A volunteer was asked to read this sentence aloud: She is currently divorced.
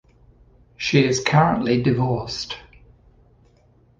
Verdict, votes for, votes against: accepted, 2, 0